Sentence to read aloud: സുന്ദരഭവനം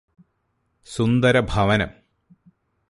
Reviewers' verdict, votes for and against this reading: accepted, 2, 0